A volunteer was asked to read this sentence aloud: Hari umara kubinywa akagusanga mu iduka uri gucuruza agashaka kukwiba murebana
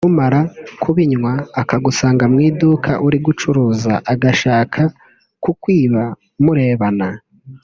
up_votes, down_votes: 1, 2